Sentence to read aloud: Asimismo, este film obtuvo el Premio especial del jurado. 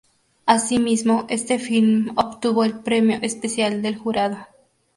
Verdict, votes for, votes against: accepted, 2, 0